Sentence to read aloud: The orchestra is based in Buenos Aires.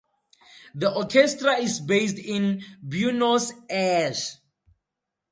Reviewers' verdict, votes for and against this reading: rejected, 0, 4